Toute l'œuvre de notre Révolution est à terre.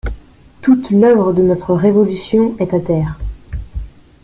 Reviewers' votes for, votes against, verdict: 2, 1, accepted